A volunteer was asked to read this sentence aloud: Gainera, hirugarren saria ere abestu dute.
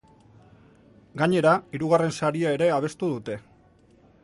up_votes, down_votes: 2, 0